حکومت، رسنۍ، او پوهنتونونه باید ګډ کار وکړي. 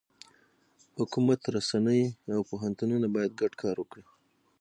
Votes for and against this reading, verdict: 6, 3, accepted